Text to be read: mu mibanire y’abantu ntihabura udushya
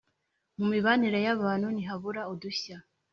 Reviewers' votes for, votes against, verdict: 3, 0, accepted